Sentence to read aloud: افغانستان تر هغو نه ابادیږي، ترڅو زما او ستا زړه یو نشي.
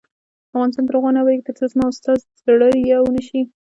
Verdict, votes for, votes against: rejected, 0, 2